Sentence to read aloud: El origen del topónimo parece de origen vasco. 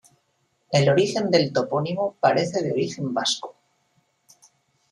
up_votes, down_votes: 2, 1